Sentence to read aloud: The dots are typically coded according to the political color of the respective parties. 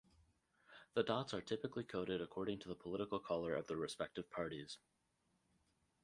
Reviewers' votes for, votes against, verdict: 2, 2, rejected